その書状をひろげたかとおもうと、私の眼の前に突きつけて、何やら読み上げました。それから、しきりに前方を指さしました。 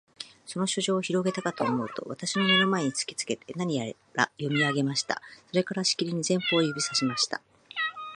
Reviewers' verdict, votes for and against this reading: rejected, 1, 2